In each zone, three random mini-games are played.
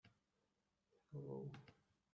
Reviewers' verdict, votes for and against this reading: rejected, 0, 3